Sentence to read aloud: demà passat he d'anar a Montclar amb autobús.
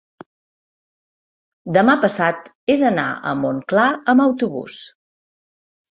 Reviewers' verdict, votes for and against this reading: accepted, 2, 0